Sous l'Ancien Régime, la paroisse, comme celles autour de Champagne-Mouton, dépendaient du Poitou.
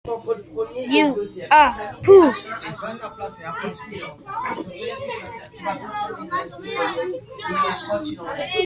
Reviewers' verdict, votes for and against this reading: rejected, 0, 2